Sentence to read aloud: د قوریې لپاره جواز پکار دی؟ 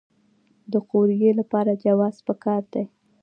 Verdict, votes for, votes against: accepted, 2, 0